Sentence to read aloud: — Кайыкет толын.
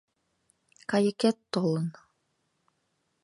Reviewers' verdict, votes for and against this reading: accepted, 2, 0